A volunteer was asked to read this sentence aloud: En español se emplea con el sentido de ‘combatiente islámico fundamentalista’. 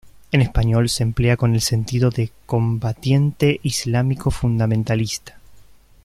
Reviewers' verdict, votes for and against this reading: accepted, 2, 0